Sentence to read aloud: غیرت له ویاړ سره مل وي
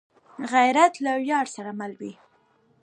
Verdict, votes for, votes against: accepted, 2, 0